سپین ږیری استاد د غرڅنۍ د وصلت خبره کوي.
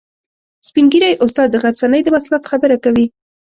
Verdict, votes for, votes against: accepted, 2, 0